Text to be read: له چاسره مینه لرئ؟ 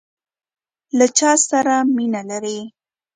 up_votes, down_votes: 2, 0